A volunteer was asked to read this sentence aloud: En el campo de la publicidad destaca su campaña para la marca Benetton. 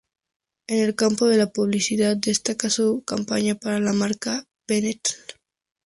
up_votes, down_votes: 0, 4